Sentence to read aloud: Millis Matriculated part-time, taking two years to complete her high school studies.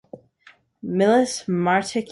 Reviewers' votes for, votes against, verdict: 0, 2, rejected